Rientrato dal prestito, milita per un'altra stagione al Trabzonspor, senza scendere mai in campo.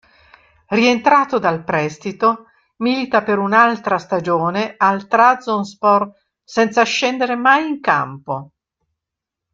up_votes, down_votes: 1, 2